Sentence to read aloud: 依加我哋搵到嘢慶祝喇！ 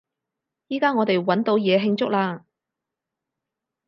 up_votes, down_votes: 4, 0